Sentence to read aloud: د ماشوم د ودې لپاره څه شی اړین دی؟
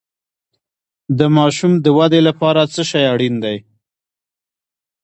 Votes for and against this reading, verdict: 1, 2, rejected